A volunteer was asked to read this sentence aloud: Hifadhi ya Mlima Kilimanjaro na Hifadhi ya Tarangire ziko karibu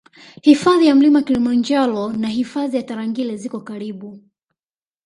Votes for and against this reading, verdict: 2, 0, accepted